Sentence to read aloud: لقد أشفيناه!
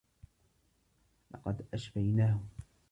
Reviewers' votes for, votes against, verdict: 1, 2, rejected